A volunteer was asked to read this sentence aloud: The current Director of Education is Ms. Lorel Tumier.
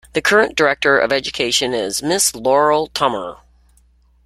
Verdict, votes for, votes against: rejected, 1, 2